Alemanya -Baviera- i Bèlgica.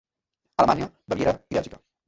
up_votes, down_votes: 1, 2